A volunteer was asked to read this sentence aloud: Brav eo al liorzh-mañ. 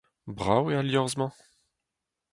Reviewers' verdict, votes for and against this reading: accepted, 4, 0